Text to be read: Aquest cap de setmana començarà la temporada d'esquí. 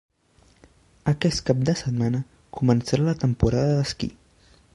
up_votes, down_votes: 1, 2